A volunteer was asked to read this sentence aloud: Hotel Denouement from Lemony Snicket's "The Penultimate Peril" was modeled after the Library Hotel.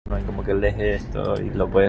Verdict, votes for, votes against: rejected, 0, 2